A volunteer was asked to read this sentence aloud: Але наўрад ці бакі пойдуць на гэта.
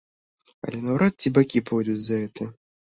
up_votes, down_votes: 0, 2